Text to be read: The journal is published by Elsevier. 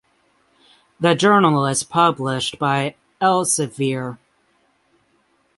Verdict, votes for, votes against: accepted, 6, 0